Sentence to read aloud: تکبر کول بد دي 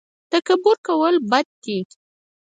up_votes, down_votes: 4, 0